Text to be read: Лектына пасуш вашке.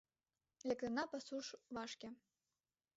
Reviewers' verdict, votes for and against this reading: accepted, 2, 0